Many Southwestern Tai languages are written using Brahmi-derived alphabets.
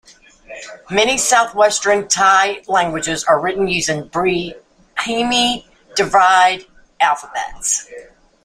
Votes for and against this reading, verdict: 1, 2, rejected